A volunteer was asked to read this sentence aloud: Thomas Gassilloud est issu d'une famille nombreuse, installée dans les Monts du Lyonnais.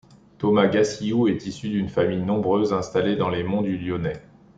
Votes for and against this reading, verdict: 3, 0, accepted